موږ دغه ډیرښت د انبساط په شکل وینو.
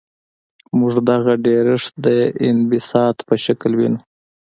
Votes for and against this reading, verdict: 2, 0, accepted